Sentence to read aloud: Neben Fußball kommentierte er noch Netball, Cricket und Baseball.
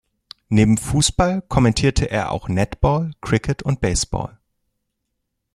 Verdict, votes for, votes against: rejected, 1, 2